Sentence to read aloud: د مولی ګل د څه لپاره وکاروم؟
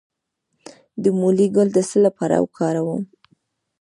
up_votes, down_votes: 1, 2